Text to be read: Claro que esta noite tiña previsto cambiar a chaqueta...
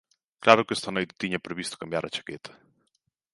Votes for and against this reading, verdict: 2, 0, accepted